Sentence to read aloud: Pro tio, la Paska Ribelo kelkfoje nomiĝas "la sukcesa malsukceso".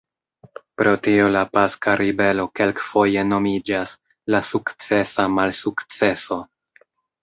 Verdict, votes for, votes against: accepted, 2, 0